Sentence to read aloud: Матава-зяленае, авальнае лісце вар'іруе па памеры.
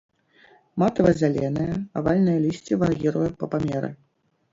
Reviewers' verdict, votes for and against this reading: rejected, 1, 2